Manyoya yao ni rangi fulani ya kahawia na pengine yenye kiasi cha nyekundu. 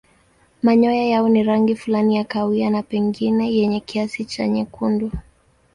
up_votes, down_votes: 2, 0